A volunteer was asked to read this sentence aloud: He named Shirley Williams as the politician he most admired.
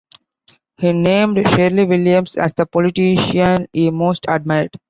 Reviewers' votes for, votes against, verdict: 2, 0, accepted